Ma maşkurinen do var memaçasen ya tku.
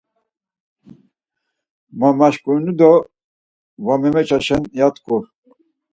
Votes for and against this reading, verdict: 2, 4, rejected